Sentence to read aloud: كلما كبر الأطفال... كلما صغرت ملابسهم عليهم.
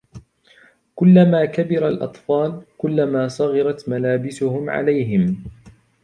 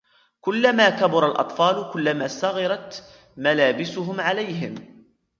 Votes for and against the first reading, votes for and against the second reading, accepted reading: 2, 0, 1, 2, first